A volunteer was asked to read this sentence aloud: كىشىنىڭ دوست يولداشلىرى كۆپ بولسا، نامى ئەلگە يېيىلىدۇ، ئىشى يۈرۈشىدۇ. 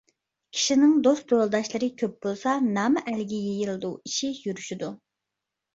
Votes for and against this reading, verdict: 2, 0, accepted